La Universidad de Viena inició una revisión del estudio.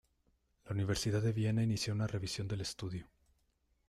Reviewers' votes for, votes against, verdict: 2, 0, accepted